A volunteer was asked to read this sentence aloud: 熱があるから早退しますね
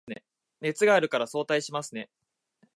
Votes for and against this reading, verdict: 2, 0, accepted